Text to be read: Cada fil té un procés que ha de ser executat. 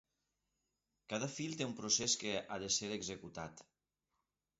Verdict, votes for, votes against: accepted, 2, 0